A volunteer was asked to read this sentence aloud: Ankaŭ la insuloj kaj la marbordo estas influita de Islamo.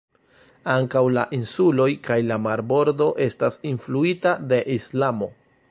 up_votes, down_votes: 2, 1